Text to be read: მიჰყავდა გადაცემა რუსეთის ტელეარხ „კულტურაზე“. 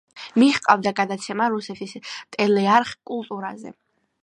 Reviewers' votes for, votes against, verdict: 1, 2, rejected